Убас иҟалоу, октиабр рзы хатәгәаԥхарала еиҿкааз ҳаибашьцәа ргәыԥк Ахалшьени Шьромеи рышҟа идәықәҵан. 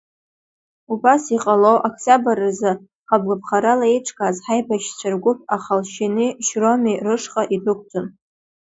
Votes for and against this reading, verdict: 2, 1, accepted